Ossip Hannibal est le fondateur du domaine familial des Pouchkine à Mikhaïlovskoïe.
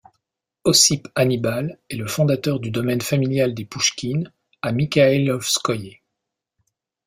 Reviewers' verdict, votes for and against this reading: accepted, 2, 0